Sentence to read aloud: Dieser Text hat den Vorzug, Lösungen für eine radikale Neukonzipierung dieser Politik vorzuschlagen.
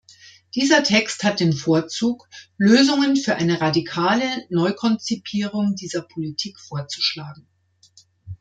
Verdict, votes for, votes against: rejected, 1, 2